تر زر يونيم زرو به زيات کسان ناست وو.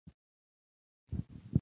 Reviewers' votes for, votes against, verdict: 1, 2, rejected